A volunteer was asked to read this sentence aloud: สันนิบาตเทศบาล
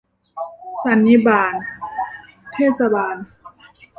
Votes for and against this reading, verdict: 1, 2, rejected